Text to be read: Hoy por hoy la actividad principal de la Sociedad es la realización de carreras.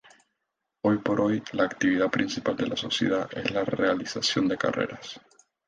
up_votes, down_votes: 2, 0